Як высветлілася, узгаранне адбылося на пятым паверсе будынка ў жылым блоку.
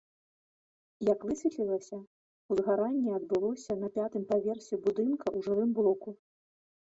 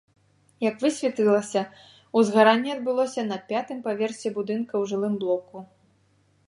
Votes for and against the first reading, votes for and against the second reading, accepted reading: 0, 2, 2, 0, second